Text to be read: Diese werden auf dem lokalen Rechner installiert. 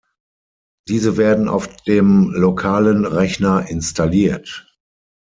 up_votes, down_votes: 6, 0